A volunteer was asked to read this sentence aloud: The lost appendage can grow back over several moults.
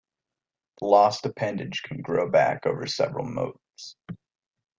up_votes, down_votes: 0, 2